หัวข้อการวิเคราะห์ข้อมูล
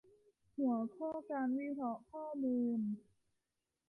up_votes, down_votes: 1, 2